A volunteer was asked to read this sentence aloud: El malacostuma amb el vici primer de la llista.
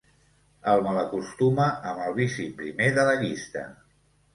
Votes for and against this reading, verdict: 2, 0, accepted